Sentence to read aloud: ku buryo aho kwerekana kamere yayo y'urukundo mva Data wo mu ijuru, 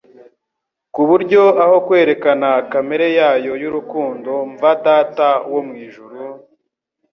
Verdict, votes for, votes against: accepted, 2, 0